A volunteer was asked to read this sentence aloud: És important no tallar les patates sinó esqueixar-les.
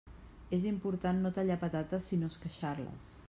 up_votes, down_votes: 0, 2